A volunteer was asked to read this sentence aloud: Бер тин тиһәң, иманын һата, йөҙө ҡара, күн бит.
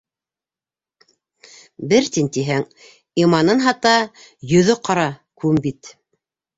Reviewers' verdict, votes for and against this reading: accepted, 2, 0